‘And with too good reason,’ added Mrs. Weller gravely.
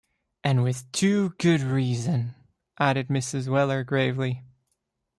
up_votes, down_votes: 2, 0